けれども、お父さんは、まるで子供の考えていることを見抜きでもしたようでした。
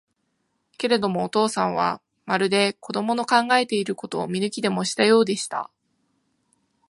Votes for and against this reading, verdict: 5, 5, rejected